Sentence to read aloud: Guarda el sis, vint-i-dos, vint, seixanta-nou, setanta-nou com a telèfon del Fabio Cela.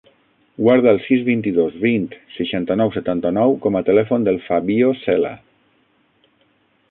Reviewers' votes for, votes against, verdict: 3, 6, rejected